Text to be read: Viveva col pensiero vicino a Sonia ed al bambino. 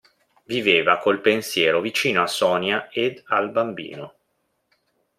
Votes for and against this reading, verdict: 2, 0, accepted